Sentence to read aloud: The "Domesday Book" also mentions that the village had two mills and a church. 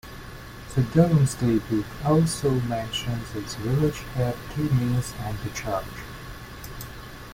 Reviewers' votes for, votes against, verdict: 1, 2, rejected